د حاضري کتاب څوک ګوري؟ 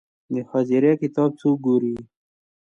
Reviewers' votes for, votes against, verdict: 2, 0, accepted